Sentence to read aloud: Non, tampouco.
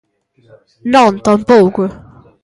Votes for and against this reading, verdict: 2, 0, accepted